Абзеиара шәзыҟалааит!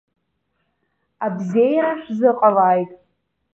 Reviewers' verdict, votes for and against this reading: accepted, 2, 0